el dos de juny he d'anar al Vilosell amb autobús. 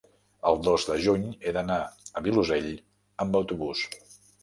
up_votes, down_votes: 0, 2